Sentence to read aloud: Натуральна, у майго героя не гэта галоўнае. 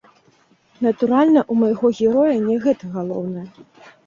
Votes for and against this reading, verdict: 1, 3, rejected